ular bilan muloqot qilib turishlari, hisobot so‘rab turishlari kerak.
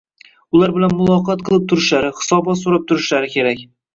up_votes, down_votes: 0, 2